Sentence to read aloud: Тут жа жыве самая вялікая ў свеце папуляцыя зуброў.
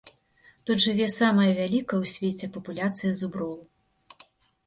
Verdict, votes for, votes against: rejected, 1, 2